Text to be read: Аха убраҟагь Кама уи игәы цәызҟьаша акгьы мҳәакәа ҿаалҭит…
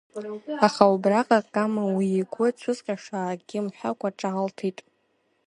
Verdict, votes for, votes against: rejected, 1, 2